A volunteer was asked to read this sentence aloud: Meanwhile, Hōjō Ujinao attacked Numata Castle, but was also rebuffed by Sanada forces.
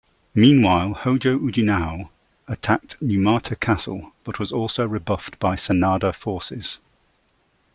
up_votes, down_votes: 2, 1